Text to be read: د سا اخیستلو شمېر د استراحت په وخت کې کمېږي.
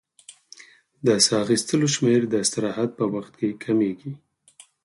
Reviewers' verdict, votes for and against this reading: accepted, 4, 0